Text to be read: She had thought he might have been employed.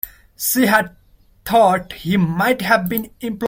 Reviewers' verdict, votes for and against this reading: rejected, 0, 2